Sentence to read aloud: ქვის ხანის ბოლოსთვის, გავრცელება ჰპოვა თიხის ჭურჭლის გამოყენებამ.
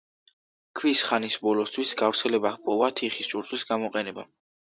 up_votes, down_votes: 2, 0